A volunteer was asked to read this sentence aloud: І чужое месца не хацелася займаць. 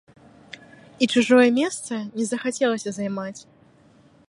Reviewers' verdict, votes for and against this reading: rejected, 0, 2